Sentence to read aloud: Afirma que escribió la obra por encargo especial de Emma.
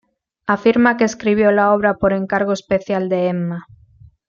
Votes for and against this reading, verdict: 2, 0, accepted